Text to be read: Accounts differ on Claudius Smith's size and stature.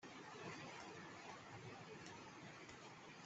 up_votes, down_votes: 0, 2